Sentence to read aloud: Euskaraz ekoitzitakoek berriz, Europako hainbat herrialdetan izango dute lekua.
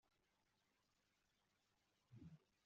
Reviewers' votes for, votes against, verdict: 1, 2, rejected